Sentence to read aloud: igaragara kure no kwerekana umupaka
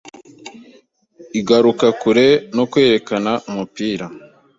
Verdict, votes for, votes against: rejected, 0, 2